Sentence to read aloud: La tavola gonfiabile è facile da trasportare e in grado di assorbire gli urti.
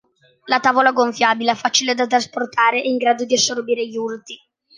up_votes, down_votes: 2, 0